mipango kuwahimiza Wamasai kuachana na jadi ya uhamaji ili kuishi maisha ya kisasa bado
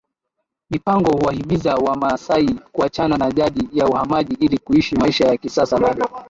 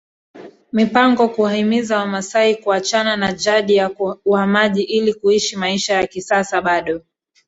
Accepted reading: first